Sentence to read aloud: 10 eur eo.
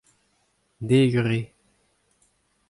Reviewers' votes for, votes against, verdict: 0, 2, rejected